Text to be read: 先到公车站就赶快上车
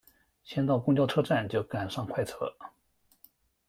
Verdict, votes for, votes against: rejected, 0, 2